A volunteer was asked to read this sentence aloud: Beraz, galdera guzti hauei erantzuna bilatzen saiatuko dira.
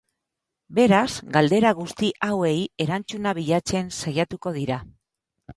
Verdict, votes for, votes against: rejected, 2, 4